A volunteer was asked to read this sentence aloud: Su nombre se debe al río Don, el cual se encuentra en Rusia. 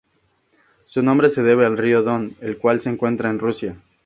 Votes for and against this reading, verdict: 2, 0, accepted